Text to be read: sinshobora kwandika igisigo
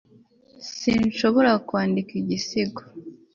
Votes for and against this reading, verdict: 2, 0, accepted